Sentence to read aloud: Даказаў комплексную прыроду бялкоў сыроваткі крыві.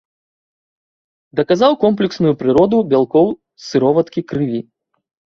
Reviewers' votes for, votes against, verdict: 2, 0, accepted